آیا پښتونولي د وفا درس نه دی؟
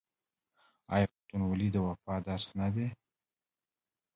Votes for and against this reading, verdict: 1, 2, rejected